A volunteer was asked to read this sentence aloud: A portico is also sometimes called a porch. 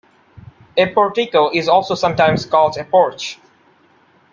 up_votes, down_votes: 2, 1